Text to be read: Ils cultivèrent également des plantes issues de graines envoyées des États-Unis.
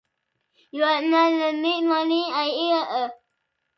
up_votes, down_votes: 0, 2